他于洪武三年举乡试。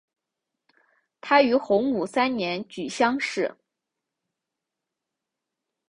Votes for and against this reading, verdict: 2, 0, accepted